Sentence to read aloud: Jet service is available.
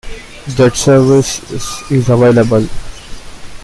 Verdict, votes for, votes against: accepted, 2, 0